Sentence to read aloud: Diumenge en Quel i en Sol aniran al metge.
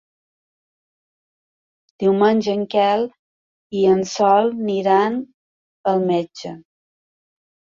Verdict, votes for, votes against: rejected, 0, 2